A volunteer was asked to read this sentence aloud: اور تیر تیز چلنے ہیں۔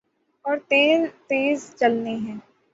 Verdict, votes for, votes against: rejected, 0, 6